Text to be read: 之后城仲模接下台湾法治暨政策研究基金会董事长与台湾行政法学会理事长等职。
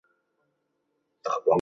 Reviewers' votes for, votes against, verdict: 0, 2, rejected